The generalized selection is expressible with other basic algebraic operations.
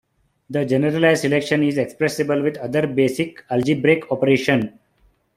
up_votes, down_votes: 1, 2